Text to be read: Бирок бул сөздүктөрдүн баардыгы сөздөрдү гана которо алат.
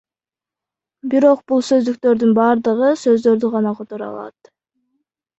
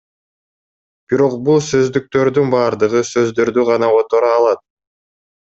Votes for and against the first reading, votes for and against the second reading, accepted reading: 1, 2, 2, 0, second